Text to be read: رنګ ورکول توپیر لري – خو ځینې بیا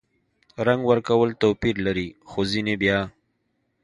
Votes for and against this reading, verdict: 2, 0, accepted